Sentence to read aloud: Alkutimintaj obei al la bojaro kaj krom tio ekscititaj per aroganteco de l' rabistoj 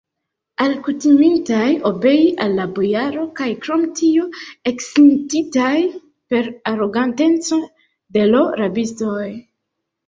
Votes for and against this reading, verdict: 2, 1, accepted